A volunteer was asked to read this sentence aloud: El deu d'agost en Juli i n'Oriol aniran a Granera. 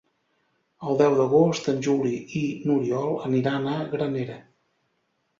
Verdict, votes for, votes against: accepted, 2, 0